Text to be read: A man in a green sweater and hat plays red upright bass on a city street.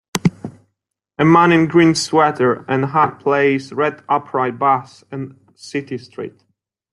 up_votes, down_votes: 0, 2